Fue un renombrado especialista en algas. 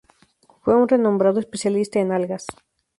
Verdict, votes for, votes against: accepted, 2, 0